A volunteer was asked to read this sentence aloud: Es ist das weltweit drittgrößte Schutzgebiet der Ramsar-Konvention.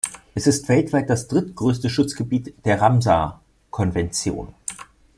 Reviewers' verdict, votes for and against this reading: rejected, 0, 2